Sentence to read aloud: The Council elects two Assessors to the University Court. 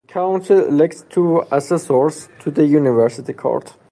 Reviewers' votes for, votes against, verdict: 0, 2, rejected